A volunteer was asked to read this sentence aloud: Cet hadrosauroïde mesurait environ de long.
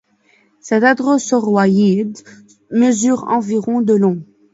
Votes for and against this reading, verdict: 2, 1, accepted